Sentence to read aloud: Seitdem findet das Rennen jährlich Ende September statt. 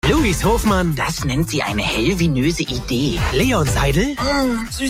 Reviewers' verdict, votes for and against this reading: rejected, 0, 2